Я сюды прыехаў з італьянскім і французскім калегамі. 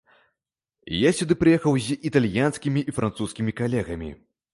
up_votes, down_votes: 1, 2